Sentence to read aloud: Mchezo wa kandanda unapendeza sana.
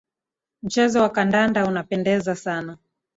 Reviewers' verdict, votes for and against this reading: accepted, 2, 1